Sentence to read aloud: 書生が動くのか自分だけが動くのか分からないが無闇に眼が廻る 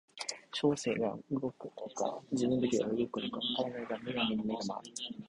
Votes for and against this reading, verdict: 1, 2, rejected